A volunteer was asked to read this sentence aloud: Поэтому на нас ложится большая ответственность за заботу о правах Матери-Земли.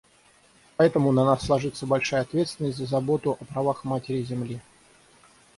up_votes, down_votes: 3, 3